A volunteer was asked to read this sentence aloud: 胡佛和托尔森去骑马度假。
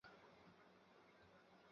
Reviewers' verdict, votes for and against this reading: rejected, 0, 3